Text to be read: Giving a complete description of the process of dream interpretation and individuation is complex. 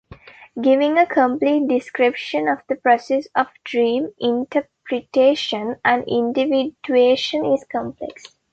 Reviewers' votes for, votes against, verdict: 3, 0, accepted